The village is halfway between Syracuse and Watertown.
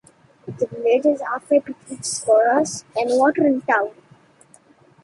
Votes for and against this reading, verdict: 0, 2, rejected